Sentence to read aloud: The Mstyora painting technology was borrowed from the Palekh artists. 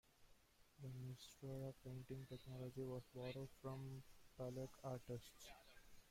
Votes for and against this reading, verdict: 1, 2, rejected